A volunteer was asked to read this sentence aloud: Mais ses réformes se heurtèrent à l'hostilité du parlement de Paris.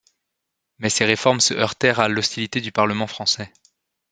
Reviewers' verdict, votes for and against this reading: rejected, 1, 2